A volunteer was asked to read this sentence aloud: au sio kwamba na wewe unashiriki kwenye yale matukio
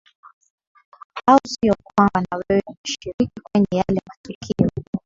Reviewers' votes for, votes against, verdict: 0, 2, rejected